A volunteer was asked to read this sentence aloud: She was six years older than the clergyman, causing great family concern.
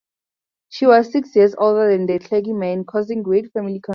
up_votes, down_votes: 2, 4